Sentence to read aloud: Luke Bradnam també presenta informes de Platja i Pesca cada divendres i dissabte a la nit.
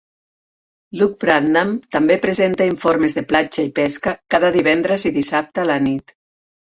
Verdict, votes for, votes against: accepted, 5, 0